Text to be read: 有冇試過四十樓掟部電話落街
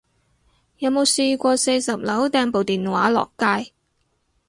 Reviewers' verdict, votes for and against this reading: accepted, 4, 0